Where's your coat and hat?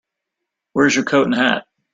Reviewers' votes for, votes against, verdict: 2, 3, rejected